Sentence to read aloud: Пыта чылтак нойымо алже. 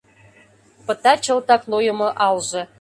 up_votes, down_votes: 2, 0